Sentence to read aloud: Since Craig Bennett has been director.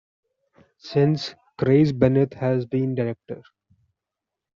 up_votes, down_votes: 2, 0